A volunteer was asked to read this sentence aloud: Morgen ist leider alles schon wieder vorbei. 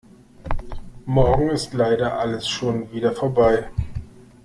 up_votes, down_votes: 2, 0